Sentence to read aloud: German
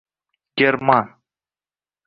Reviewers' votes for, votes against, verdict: 1, 2, rejected